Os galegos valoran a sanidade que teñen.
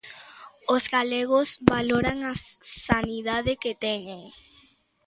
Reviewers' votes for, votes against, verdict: 0, 2, rejected